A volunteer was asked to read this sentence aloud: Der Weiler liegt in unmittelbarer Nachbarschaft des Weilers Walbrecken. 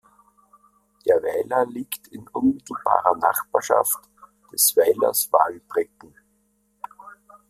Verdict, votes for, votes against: rejected, 0, 2